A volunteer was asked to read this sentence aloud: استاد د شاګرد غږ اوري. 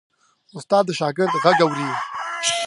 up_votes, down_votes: 0, 2